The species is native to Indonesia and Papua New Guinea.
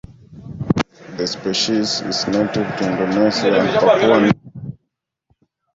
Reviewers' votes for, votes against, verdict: 1, 2, rejected